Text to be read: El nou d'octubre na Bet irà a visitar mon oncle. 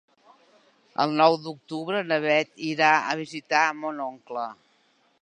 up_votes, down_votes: 2, 0